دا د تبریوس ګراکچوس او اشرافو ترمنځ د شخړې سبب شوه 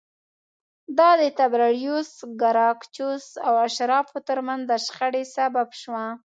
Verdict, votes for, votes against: rejected, 1, 2